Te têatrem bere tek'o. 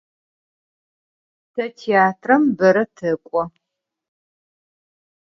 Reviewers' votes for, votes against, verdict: 4, 0, accepted